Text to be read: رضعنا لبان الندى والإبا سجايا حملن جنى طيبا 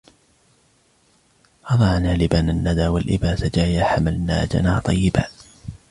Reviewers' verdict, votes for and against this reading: rejected, 1, 2